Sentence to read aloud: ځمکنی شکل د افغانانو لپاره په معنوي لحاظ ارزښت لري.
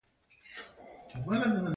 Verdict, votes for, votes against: rejected, 1, 2